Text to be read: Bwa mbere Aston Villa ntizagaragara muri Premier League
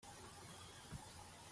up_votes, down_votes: 0, 2